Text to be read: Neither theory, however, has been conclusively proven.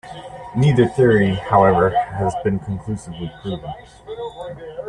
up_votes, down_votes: 0, 2